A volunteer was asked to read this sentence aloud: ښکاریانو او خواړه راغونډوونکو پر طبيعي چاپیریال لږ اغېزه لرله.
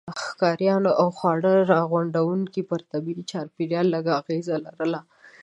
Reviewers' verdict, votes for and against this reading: rejected, 1, 2